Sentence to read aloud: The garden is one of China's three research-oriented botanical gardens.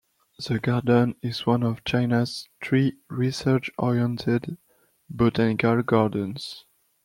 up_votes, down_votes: 0, 2